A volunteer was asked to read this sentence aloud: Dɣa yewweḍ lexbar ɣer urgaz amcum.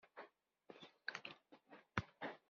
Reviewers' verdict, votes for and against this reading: rejected, 1, 2